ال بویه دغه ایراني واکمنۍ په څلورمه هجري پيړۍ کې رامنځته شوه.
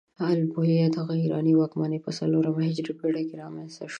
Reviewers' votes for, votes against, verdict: 2, 0, accepted